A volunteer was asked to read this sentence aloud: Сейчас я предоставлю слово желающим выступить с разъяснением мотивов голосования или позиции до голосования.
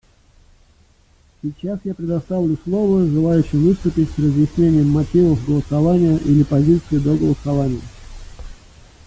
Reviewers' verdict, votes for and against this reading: accepted, 2, 1